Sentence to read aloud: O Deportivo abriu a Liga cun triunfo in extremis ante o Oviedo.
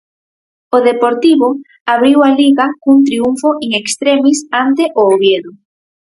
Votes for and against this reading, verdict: 4, 0, accepted